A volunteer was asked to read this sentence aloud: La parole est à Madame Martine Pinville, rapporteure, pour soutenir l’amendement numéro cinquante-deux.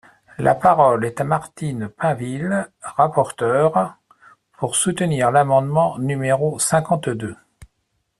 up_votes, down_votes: 0, 2